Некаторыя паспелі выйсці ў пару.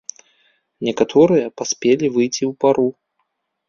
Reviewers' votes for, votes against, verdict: 1, 2, rejected